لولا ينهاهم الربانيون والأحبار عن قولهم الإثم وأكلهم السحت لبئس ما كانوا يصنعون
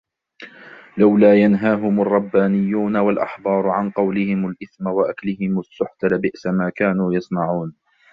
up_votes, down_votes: 1, 2